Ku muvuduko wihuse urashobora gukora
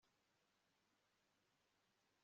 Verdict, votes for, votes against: rejected, 1, 2